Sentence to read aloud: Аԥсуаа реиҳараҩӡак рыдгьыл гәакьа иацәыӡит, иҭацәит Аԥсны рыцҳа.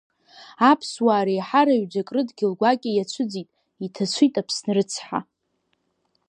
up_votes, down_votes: 2, 0